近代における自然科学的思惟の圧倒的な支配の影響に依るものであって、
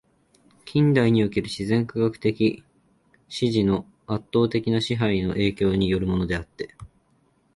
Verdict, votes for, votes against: rejected, 1, 2